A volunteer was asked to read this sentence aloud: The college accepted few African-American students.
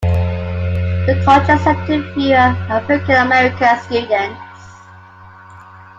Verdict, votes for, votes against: rejected, 0, 2